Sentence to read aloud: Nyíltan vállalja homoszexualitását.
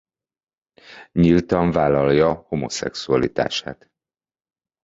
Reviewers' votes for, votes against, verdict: 2, 0, accepted